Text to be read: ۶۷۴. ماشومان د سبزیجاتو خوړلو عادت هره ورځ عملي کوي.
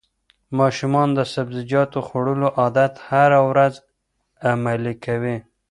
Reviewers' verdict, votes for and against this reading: rejected, 0, 2